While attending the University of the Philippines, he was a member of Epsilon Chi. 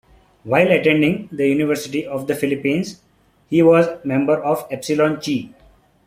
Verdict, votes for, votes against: rejected, 1, 2